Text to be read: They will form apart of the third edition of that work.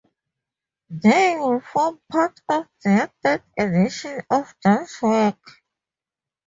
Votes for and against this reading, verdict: 2, 2, rejected